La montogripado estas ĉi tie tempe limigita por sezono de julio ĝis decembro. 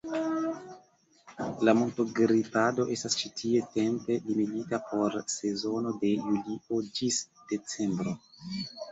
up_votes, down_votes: 1, 2